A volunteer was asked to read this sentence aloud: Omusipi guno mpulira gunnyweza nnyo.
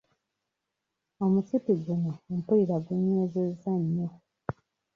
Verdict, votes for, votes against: rejected, 1, 2